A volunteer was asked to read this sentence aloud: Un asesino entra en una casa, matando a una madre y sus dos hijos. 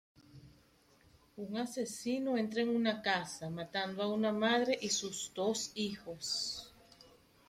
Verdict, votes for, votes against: rejected, 0, 2